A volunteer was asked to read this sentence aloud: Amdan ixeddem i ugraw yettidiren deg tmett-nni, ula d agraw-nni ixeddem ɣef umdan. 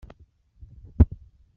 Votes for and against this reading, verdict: 1, 2, rejected